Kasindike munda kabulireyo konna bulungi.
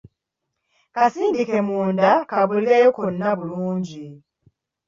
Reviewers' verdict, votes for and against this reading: accepted, 2, 1